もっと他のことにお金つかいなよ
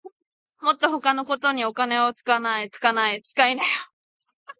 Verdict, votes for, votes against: rejected, 0, 4